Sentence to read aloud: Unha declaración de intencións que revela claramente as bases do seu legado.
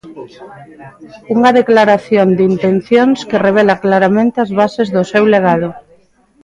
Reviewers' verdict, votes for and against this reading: accepted, 2, 0